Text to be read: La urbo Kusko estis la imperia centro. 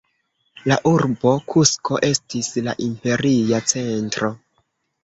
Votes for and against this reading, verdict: 2, 1, accepted